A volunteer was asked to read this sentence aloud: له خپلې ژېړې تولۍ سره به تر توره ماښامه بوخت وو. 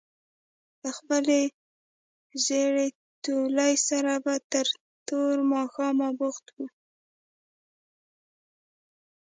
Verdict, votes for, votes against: rejected, 1, 2